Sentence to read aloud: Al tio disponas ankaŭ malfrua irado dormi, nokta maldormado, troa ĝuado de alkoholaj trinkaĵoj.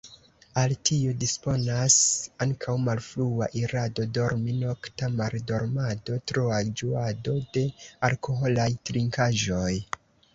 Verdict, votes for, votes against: rejected, 0, 2